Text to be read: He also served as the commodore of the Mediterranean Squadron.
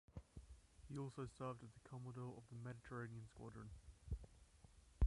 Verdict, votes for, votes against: rejected, 0, 2